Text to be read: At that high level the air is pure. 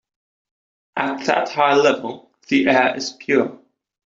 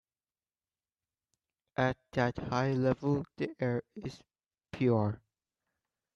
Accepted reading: first